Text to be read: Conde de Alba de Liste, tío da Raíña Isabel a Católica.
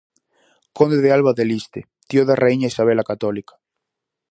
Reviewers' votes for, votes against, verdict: 4, 0, accepted